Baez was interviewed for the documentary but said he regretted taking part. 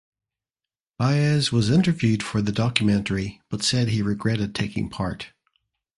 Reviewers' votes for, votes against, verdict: 2, 0, accepted